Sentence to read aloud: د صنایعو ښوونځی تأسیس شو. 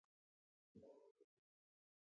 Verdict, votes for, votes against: rejected, 0, 4